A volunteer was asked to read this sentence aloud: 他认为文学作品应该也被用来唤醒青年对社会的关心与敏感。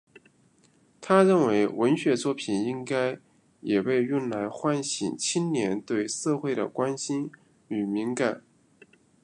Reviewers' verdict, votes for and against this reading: accepted, 2, 1